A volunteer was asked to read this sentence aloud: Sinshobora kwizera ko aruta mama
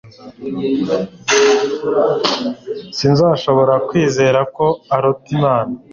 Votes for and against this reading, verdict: 0, 2, rejected